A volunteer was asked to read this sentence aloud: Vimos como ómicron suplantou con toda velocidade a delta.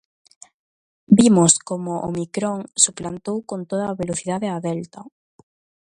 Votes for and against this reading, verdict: 0, 2, rejected